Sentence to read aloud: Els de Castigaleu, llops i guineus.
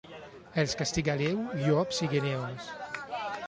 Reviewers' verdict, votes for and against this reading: accepted, 2, 0